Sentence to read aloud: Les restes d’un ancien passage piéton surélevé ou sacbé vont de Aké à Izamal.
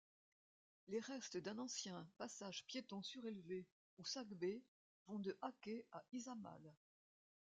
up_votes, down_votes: 2, 0